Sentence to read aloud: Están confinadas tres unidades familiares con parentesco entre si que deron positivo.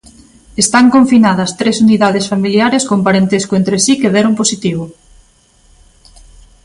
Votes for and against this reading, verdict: 2, 0, accepted